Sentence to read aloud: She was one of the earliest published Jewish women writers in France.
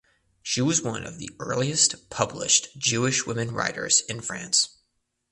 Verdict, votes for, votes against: accepted, 2, 0